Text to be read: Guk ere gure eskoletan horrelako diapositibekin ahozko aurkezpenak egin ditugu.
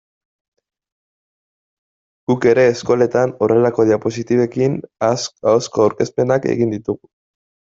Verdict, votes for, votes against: accepted, 2, 1